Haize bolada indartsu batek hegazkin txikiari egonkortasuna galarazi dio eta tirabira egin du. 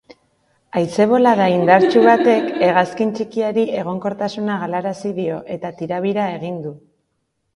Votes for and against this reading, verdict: 1, 2, rejected